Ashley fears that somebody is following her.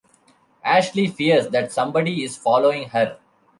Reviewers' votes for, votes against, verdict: 2, 0, accepted